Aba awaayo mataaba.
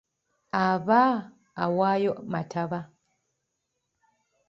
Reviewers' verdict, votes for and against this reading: rejected, 1, 2